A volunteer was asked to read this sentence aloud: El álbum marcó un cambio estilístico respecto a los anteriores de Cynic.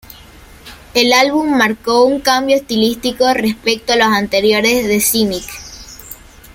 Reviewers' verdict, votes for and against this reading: accepted, 2, 0